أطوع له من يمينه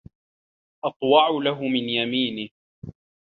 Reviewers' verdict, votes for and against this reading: accepted, 2, 1